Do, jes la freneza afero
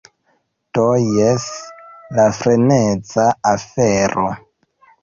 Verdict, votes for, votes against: rejected, 1, 2